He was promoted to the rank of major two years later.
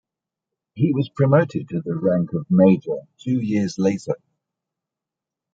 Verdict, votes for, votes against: rejected, 1, 2